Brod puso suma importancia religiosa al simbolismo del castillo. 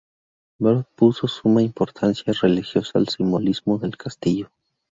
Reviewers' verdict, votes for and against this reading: rejected, 0, 2